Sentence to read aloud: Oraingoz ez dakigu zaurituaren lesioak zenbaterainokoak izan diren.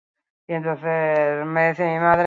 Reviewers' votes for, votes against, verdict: 0, 4, rejected